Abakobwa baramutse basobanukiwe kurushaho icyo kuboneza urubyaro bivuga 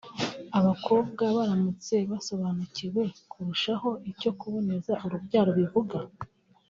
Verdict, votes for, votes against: accepted, 2, 1